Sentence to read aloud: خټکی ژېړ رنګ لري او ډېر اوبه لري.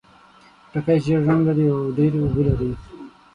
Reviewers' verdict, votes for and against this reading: rejected, 3, 6